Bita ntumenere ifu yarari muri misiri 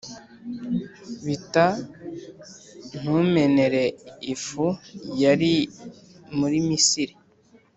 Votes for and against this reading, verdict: 0, 2, rejected